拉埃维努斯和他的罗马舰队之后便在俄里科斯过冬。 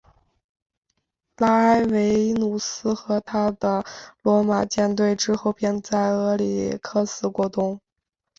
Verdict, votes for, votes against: accepted, 2, 0